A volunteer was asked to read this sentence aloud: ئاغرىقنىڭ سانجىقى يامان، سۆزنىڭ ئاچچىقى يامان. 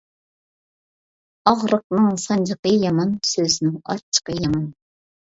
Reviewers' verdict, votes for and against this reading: accepted, 2, 0